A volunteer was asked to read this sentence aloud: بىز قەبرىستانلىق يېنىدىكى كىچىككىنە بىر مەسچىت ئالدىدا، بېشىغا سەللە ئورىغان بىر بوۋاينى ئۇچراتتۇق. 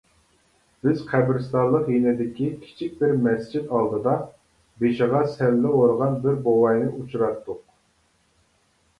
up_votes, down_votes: 0, 2